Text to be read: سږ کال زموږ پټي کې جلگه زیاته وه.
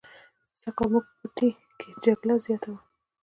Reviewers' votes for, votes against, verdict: 2, 1, accepted